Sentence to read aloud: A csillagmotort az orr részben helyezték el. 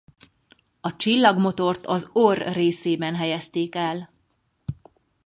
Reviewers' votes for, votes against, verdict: 2, 4, rejected